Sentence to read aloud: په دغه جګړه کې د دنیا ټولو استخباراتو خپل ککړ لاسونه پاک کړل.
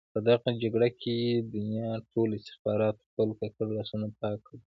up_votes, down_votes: 0, 2